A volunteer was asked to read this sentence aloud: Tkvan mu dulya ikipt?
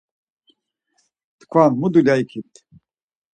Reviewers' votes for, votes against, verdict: 4, 0, accepted